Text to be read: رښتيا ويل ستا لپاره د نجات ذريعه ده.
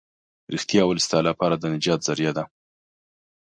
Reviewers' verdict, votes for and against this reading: accepted, 2, 0